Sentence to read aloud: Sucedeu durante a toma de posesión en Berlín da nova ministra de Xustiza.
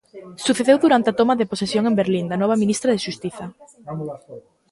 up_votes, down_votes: 1, 2